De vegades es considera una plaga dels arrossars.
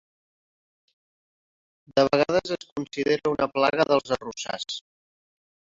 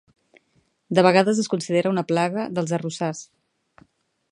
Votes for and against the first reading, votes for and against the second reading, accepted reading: 0, 2, 2, 0, second